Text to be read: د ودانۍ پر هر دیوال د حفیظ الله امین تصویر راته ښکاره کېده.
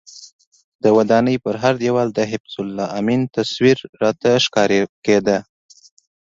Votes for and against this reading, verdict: 2, 0, accepted